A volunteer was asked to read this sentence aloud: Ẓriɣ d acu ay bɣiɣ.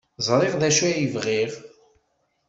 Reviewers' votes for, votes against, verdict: 2, 0, accepted